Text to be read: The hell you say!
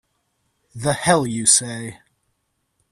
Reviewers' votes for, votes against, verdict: 2, 0, accepted